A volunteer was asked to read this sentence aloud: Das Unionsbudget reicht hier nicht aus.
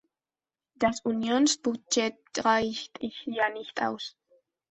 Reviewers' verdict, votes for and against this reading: rejected, 1, 2